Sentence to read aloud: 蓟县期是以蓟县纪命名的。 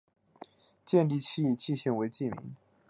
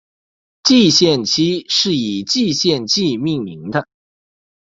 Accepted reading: second